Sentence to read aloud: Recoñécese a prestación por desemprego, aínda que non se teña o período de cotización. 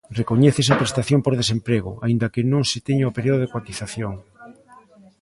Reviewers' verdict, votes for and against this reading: rejected, 1, 2